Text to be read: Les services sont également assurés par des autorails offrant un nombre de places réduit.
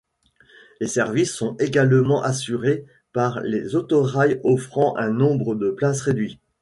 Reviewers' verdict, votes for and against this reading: rejected, 0, 2